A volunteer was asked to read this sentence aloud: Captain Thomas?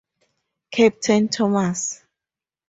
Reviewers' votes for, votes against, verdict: 2, 0, accepted